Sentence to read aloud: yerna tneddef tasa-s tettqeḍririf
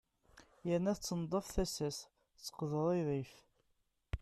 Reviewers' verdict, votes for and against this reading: rejected, 1, 2